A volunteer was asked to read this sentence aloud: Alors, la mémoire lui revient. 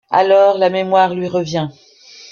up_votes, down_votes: 2, 0